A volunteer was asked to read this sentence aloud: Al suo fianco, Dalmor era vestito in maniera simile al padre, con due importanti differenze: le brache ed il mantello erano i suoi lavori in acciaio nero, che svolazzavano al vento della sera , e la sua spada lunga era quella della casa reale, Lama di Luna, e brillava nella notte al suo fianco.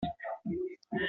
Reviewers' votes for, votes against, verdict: 0, 2, rejected